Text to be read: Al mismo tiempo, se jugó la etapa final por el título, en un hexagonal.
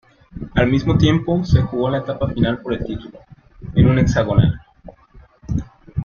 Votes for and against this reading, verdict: 0, 2, rejected